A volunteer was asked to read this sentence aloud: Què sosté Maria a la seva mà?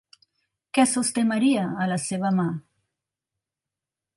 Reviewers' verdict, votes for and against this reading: accepted, 3, 0